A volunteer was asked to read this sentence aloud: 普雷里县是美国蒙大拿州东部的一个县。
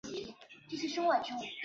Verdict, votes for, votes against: rejected, 1, 2